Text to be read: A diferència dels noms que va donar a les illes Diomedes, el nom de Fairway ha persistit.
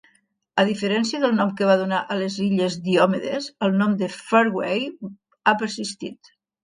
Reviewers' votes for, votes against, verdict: 1, 2, rejected